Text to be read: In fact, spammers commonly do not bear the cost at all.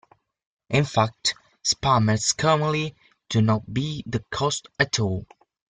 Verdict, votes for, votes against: rejected, 0, 2